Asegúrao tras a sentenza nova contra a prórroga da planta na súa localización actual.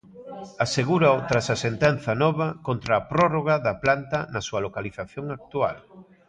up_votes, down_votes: 1, 2